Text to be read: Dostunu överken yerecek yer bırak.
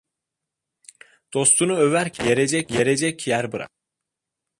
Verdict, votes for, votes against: rejected, 0, 2